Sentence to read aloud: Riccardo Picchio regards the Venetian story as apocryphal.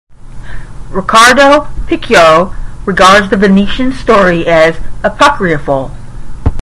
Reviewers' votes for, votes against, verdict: 5, 5, rejected